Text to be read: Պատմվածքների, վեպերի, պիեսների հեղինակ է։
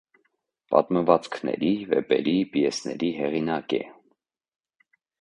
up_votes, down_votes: 2, 0